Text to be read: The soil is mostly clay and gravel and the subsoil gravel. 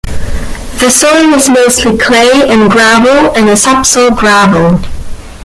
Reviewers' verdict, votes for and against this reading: accepted, 2, 0